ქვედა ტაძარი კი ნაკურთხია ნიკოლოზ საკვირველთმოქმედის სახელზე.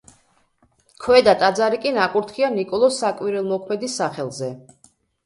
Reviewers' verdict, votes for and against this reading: rejected, 1, 2